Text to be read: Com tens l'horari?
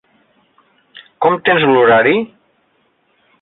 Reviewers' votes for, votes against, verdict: 1, 2, rejected